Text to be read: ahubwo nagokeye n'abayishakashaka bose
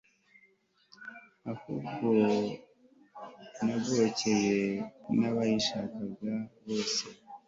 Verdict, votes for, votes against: rejected, 1, 2